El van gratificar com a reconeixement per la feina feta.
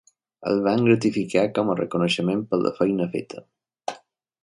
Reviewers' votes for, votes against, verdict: 2, 0, accepted